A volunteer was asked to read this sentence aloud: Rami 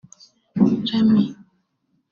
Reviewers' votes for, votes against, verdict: 1, 2, rejected